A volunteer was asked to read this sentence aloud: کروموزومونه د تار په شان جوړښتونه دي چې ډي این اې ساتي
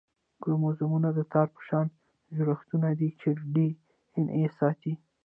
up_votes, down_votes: 1, 2